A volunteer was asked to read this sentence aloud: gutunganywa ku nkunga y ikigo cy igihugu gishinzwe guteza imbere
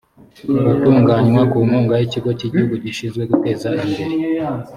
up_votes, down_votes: 4, 0